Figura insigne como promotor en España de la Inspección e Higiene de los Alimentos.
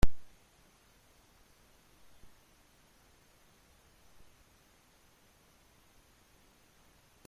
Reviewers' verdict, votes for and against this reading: rejected, 0, 2